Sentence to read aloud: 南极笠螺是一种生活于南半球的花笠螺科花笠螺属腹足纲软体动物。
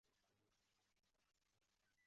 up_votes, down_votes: 0, 2